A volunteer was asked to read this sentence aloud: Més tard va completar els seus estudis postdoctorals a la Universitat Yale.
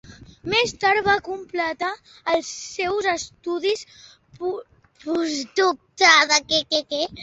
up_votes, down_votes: 0, 2